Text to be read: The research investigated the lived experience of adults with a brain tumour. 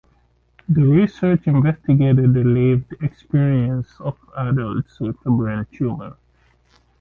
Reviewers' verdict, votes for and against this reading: rejected, 0, 2